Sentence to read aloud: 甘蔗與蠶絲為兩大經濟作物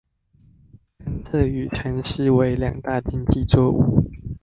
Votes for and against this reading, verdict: 1, 2, rejected